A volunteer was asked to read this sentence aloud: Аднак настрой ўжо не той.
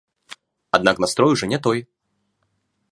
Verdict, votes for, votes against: accepted, 2, 0